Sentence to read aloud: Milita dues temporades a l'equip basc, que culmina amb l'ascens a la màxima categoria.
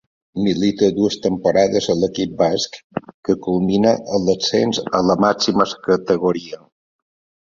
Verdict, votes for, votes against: rejected, 1, 2